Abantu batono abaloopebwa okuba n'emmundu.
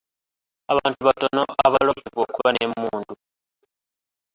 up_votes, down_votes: 1, 3